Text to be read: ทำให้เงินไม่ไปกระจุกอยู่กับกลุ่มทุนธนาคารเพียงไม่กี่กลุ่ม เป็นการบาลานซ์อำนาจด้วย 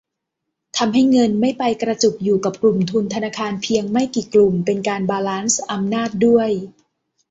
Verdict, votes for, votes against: accepted, 2, 0